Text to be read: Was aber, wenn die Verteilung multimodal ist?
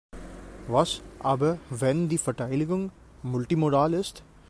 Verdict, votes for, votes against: rejected, 1, 2